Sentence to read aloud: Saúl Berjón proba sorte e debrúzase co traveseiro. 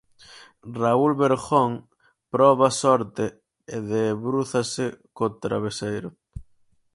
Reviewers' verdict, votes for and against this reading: rejected, 2, 4